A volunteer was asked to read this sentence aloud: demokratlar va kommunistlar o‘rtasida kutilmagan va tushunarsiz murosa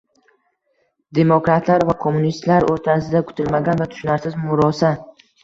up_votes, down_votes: 2, 1